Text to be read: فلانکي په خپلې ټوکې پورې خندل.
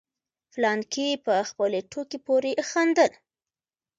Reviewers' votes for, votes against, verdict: 1, 2, rejected